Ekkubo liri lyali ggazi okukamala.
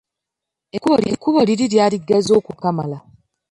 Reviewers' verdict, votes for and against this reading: rejected, 1, 2